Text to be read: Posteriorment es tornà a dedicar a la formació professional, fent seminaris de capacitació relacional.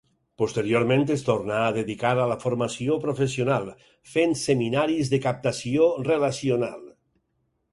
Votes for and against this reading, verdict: 2, 4, rejected